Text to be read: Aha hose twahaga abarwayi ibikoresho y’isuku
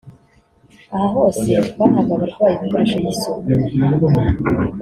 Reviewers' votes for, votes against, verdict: 2, 0, accepted